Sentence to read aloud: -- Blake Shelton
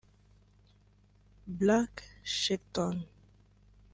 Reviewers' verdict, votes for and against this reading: rejected, 1, 2